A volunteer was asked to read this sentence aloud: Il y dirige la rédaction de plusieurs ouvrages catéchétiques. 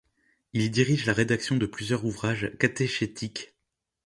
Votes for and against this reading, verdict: 1, 2, rejected